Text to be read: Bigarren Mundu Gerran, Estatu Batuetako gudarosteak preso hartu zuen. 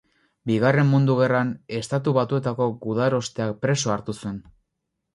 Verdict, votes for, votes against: rejected, 0, 2